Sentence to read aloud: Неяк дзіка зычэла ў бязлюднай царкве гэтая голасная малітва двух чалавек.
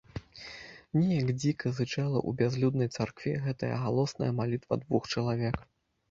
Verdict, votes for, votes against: rejected, 1, 2